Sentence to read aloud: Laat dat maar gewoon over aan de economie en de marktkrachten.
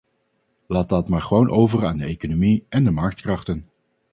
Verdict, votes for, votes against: accepted, 2, 0